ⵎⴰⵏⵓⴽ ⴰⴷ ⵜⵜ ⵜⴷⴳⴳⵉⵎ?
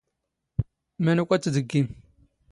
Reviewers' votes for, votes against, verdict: 2, 0, accepted